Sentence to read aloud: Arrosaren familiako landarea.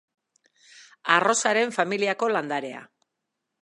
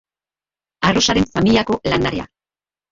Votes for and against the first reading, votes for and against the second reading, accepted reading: 3, 0, 0, 3, first